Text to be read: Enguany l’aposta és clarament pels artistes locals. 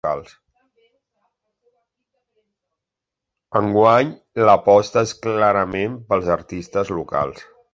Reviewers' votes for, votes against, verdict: 0, 2, rejected